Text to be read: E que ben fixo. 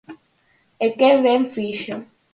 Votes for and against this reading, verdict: 4, 0, accepted